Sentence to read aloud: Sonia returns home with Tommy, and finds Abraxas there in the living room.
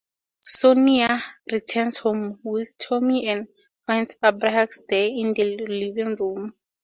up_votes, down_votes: 2, 0